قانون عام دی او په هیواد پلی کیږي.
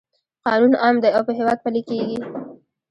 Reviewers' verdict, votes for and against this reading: rejected, 1, 2